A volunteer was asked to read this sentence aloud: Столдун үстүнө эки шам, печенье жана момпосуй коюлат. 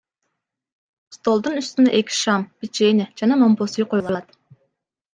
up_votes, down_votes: 2, 0